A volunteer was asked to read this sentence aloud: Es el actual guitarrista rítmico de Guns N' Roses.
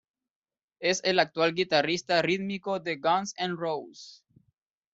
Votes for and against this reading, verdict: 1, 2, rejected